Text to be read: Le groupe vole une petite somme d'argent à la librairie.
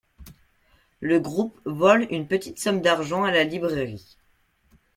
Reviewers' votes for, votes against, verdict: 2, 0, accepted